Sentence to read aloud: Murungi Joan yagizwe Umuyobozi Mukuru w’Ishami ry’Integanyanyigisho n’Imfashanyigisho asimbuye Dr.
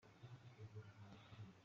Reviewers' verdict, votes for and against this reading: rejected, 0, 2